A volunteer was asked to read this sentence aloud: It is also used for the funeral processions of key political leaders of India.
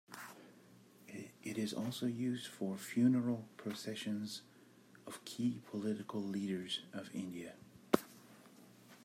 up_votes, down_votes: 0, 2